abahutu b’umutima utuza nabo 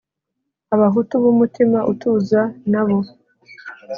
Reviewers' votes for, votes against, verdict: 4, 0, accepted